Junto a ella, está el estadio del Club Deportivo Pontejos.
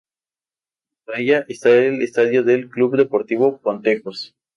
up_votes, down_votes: 2, 2